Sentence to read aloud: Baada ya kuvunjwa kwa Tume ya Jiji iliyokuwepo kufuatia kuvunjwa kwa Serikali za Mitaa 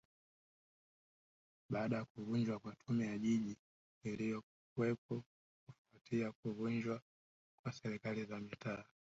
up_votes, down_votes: 1, 2